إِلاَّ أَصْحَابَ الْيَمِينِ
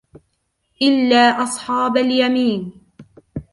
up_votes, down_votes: 2, 0